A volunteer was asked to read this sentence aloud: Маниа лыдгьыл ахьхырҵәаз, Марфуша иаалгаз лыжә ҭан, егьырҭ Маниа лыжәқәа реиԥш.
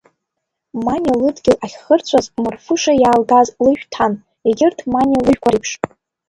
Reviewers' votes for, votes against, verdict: 2, 1, accepted